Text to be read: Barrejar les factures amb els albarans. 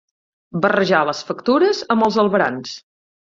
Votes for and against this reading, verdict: 6, 0, accepted